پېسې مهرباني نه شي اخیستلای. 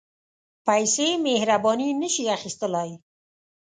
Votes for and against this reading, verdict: 2, 0, accepted